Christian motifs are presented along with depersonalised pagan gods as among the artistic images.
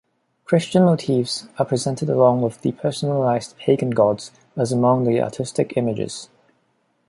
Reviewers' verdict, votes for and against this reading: accepted, 3, 1